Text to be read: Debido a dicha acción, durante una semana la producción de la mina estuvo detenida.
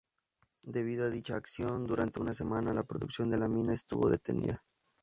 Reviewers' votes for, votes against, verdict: 4, 0, accepted